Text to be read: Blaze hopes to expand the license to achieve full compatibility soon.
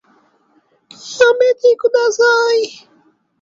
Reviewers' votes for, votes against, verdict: 0, 2, rejected